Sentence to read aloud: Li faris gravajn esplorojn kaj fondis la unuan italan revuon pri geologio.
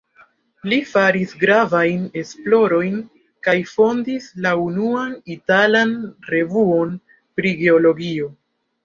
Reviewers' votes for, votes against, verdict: 2, 0, accepted